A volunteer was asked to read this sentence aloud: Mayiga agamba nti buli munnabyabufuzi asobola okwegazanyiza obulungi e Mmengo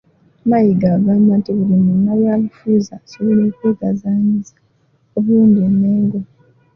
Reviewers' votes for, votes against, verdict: 2, 0, accepted